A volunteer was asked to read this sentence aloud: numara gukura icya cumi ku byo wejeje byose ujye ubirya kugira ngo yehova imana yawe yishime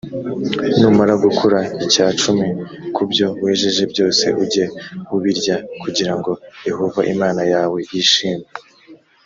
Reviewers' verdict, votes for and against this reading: accepted, 2, 0